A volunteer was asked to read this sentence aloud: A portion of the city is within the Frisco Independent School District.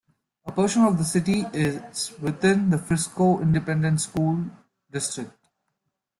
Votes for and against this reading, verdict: 0, 2, rejected